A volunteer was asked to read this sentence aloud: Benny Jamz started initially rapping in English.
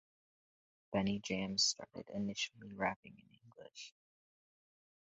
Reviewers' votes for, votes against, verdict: 0, 2, rejected